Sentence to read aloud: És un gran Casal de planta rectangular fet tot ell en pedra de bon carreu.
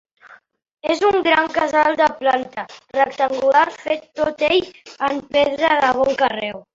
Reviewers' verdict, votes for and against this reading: rejected, 2, 3